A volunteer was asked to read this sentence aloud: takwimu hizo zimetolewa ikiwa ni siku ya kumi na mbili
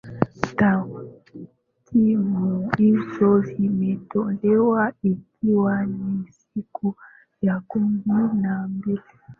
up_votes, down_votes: 0, 2